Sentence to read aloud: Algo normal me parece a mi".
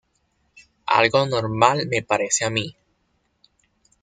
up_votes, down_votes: 2, 0